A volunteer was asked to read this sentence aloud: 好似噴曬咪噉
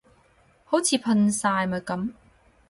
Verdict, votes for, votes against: rejected, 0, 2